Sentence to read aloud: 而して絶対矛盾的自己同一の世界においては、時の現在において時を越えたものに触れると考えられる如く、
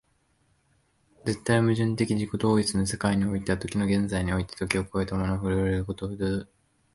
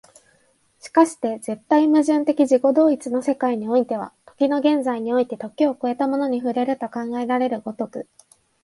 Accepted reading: second